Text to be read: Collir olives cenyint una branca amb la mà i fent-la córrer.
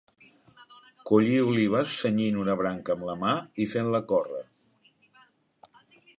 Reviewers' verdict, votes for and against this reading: accepted, 2, 1